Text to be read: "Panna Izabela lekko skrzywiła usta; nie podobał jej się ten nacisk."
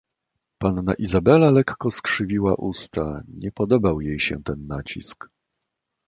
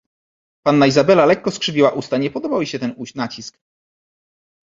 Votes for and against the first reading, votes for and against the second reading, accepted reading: 2, 0, 1, 2, first